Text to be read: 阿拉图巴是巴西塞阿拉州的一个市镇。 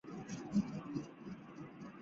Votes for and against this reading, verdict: 2, 3, rejected